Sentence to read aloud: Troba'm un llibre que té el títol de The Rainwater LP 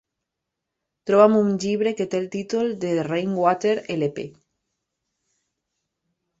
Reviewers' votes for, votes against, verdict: 1, 2, rejected